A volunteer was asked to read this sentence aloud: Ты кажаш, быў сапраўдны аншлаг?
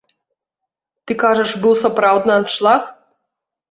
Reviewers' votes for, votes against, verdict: 2, 0, accepted